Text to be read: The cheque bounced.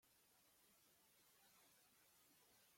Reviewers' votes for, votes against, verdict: 0, 2, rejected